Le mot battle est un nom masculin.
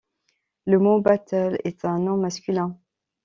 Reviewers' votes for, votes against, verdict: 2, 0, accepted